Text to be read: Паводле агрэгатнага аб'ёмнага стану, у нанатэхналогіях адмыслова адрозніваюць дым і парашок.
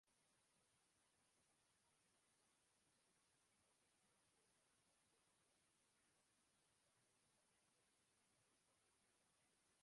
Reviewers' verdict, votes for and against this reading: rejected, 0, 2